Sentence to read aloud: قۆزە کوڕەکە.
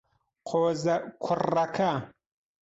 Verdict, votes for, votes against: accepted, 2, 1